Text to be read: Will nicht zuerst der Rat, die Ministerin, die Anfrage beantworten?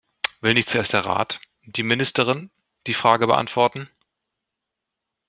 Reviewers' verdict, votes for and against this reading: rejected, 0, 2